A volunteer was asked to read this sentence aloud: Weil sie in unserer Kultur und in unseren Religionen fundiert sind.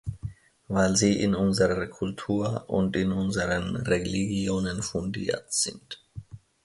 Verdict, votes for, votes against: rejected, 1, 2